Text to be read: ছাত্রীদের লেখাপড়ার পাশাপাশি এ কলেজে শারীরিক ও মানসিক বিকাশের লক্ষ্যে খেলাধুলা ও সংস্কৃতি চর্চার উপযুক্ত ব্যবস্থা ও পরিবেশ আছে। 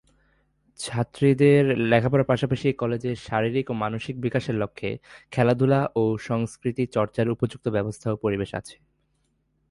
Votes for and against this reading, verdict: 5, 0, accepted